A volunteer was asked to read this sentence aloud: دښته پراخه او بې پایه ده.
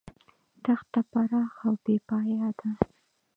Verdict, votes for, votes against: rejected, 1, 2